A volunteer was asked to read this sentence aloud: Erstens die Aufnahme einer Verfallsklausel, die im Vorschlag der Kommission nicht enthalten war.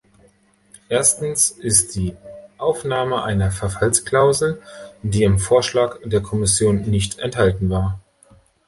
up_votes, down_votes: 1, 2